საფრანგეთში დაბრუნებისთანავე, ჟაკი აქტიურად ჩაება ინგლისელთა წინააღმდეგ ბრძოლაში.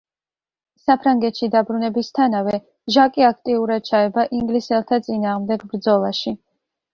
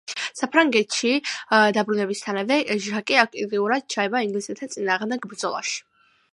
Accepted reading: first